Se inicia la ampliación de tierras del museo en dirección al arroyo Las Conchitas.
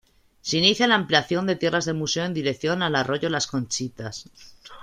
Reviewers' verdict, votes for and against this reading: accepted, 2, 0